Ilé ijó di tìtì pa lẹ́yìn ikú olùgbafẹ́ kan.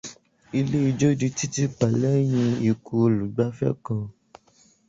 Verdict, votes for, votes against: rejected, 0, 2